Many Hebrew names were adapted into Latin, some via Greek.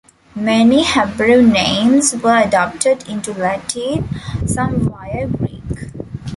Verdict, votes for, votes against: rejected, 1, 2